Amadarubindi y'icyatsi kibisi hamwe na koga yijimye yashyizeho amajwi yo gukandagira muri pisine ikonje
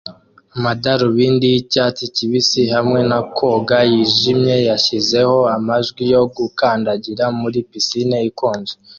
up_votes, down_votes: 2, 0